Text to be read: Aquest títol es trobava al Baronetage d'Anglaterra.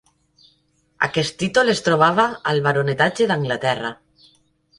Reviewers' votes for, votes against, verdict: 2, 1, accepted